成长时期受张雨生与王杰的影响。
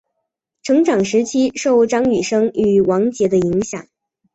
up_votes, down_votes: 0, 2